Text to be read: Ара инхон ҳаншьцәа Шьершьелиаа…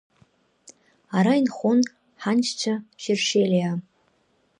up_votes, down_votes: 2, 0